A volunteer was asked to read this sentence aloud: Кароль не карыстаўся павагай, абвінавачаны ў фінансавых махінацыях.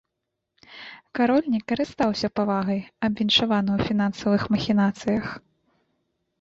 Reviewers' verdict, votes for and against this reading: rejected, 1, 2